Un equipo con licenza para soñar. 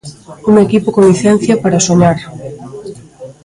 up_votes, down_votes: 0, 2